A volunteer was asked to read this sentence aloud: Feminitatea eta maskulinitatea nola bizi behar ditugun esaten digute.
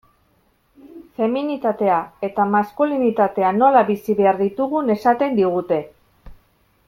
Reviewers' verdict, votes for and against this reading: accepted, 2, 0